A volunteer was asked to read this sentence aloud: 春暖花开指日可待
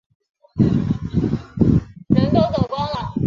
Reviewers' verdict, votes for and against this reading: rejected, 0, 3